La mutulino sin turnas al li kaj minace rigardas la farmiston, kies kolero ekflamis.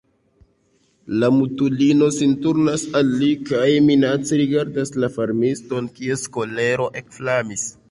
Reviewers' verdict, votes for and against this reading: rejected, 1, 2